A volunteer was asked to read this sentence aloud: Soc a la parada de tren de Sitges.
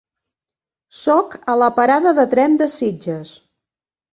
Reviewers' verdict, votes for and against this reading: accepted, 2, 0